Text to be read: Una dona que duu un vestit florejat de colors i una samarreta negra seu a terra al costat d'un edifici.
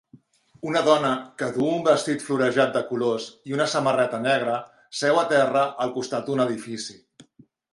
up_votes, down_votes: 2, 0